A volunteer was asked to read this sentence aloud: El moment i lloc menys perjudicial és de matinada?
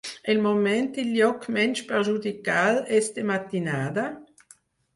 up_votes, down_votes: 2, 4